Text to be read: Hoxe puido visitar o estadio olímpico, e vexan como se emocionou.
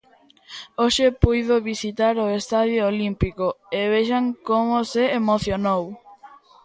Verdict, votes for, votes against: accepted, 2, 0